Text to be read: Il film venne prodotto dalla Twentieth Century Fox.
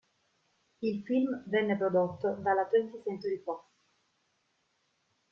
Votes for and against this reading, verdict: 2, 0, accepted